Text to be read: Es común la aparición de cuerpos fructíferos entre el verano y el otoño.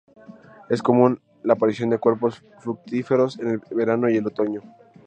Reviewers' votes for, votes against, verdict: 0, 2, rejected